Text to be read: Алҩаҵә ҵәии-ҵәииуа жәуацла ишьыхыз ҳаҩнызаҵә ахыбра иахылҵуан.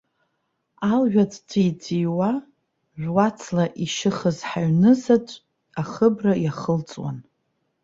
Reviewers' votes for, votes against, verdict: 2, 0, accepted